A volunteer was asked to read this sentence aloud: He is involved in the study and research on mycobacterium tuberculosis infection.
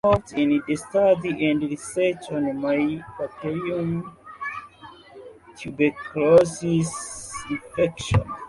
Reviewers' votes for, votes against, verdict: 0, 2, rejected